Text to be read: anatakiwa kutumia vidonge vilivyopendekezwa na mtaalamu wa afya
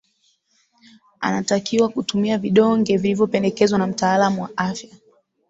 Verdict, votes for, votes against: accepted, 9, 0